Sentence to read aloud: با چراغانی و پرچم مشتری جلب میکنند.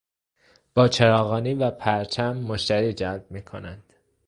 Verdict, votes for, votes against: accepted, 2, 1